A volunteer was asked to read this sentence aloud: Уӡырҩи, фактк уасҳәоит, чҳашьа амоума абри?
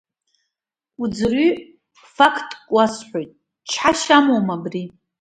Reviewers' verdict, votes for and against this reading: accepted, 2, 0